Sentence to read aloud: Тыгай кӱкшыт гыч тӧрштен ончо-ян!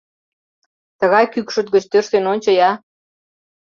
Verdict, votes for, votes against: rejected, 1, 2